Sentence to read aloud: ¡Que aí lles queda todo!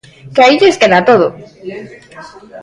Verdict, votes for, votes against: rejected, 1, 2